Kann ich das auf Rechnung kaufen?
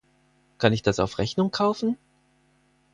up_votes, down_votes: 4, 0